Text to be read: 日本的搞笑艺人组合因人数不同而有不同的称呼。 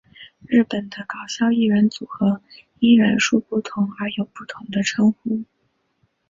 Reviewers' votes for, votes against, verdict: 6, 0, accepted